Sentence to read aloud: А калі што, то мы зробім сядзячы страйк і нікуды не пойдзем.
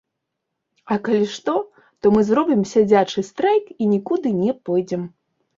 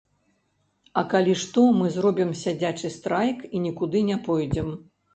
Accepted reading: first